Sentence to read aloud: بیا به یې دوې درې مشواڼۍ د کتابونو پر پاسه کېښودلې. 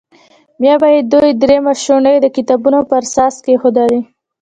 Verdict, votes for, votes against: rejected, 1, 2